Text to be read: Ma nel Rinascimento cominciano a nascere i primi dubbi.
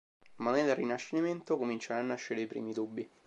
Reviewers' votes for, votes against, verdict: 3, 0, accepted